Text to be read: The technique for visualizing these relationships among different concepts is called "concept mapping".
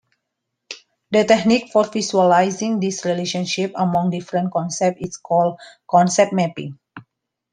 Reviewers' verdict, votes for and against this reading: rejected, 1, 2